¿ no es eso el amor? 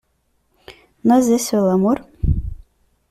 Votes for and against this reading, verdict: 1, 2, rejected